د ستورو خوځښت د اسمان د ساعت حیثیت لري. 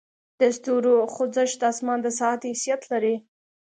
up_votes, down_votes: 1, 2